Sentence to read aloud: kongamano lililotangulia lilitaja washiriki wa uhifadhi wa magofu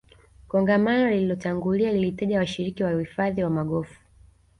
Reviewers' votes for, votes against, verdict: 2, 0, accepted